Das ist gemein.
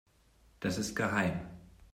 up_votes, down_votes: 0, 2